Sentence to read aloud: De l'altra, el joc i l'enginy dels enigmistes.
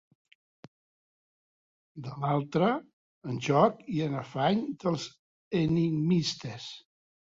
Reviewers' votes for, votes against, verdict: 0, 3, rejected